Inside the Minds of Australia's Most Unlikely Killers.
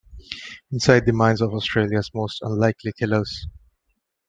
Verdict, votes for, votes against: accepted, 2, 0